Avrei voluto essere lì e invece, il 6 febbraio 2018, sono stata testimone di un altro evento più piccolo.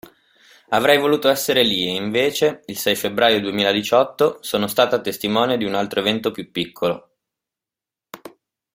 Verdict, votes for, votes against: rejected, 0, 2